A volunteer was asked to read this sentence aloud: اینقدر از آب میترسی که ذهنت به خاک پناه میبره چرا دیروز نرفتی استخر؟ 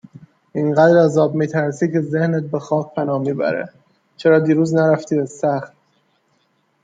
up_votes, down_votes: 2, 0